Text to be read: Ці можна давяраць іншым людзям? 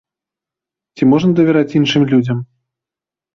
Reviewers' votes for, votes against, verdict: 3, 0, accepted